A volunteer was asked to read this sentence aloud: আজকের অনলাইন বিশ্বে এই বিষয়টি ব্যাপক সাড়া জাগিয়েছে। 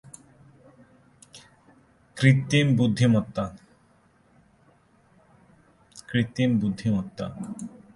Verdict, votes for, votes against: rejected, 0, 2